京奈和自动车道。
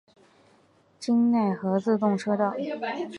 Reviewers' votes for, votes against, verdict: 2, 0, accepted